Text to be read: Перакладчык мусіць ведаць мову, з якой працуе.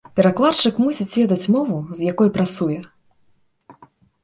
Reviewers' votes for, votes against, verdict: 2, 0, accepted